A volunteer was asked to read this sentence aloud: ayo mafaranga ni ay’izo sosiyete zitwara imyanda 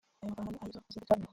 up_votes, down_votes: 0, 2